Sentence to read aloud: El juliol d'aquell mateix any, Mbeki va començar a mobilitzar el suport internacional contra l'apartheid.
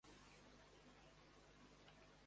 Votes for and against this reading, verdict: 0, 2, rejected